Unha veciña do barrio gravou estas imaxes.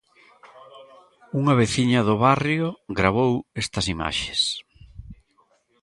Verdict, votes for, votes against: accepted, 2, 1